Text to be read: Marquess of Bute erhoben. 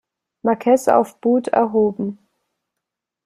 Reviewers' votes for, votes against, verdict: 2, 0, accepted